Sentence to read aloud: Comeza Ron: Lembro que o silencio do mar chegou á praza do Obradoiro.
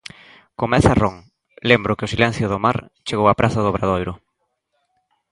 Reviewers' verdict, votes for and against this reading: accepted, 3, 0